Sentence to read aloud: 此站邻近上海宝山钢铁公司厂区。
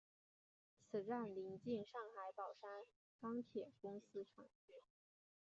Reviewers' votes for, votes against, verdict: 1, 3, rejected